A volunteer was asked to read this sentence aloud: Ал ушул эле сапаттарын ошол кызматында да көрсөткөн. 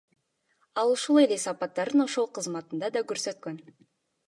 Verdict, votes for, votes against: rejected, 0, 2